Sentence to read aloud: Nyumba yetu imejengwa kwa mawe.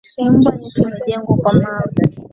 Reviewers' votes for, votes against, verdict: 1, 2, rejected